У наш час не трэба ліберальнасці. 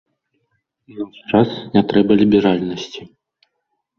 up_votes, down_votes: 1, 2